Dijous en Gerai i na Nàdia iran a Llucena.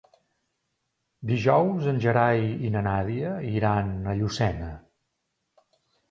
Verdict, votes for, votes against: accepted, 2, 0